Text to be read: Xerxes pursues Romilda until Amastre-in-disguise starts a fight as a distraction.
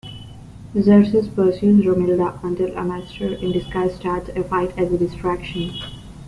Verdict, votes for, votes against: accepted, 2, 0